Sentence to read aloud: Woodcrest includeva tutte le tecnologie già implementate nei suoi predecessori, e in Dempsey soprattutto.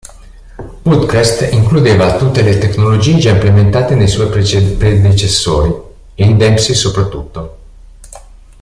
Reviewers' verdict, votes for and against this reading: rejected, 0, 2